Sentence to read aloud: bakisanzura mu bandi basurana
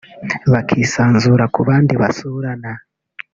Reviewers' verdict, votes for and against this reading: rejected, 1, 2